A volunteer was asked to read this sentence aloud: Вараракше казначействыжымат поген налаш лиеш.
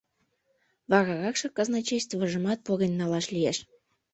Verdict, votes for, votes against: accepted, 2, 0